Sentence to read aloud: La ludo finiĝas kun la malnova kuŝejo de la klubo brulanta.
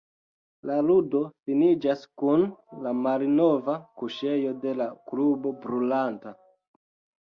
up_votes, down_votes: 1, 2